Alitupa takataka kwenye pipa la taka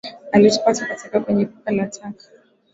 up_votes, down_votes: 5, 0